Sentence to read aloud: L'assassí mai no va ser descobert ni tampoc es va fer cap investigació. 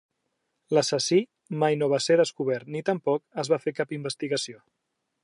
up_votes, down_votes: 3, 0